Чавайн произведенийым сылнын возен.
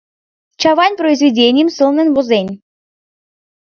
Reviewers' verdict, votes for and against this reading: accepted, 2, 0